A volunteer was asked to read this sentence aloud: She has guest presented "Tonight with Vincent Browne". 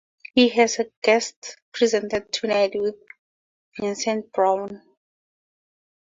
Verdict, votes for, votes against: accepted, 2, 0